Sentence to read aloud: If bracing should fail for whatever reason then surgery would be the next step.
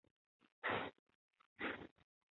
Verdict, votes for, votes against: rejected, 0, 2